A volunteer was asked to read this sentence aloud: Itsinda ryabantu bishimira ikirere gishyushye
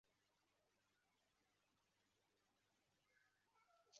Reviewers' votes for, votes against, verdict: 0, 2, rejected